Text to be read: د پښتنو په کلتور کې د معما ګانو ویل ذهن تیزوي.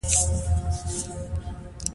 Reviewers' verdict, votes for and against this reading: rejected, 1, 2